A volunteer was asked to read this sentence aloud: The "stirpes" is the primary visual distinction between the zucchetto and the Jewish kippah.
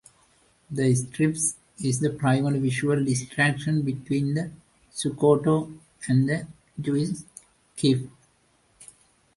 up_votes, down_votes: 0, 2